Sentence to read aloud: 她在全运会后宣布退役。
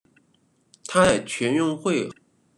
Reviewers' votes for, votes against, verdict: 0, 2, rejected